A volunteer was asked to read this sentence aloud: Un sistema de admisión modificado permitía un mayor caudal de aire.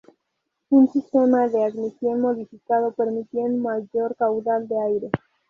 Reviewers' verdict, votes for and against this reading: rejected, 2, 2